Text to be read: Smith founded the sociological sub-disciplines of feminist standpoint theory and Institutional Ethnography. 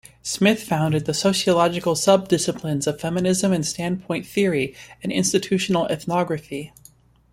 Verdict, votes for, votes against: rejected, 0, 2